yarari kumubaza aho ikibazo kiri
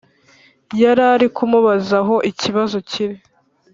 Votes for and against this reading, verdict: 2, 0, accepted